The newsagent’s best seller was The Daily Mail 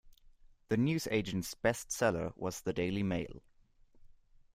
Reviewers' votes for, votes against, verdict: 2, 0, accepted